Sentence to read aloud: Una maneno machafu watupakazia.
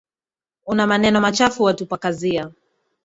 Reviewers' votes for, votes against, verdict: 3, 0, accepted